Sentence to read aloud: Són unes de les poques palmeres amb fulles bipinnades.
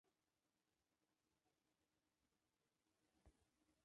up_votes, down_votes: 1, 2